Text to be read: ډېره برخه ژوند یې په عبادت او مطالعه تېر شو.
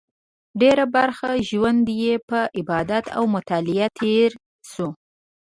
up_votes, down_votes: 2, 0